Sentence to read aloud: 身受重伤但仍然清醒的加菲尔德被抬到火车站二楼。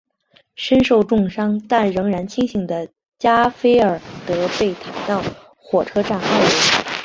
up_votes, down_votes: 2, 3